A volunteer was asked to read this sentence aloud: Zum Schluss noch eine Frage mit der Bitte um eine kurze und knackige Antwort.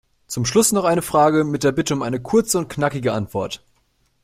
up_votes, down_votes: 2, 0